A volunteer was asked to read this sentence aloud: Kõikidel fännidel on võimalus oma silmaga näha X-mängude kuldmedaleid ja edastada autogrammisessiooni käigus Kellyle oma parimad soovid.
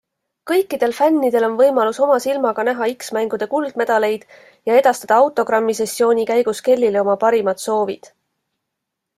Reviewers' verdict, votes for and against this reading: accepted, 2, 0